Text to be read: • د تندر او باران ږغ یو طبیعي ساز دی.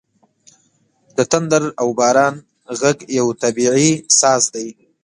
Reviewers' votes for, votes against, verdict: 2, 0, accepted